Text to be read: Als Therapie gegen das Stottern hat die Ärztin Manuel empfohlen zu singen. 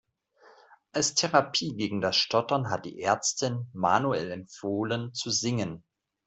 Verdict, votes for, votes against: accepted, 2, 1